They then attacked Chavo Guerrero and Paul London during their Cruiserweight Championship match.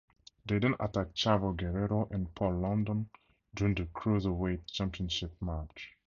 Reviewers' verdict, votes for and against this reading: rejected, 0, 4